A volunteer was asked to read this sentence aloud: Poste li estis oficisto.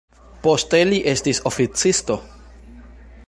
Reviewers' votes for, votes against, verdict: 2, 1, accepted